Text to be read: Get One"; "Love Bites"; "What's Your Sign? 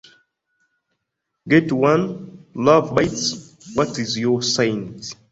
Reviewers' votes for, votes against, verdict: 1, 4, rejected